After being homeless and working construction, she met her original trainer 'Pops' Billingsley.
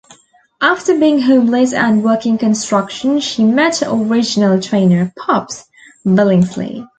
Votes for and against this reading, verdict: 0, 2, rejected